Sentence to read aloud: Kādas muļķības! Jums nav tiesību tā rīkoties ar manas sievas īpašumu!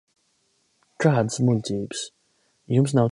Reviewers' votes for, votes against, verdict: 0, 2, rejected